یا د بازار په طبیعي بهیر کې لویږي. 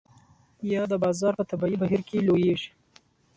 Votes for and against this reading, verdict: 2, 0, accepted